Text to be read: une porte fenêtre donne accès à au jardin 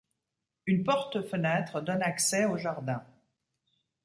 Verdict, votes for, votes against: rejected, 0, 2